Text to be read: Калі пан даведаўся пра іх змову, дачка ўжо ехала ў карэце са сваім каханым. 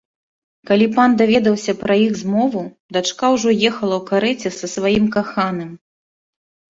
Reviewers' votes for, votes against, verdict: 2, 0, accepted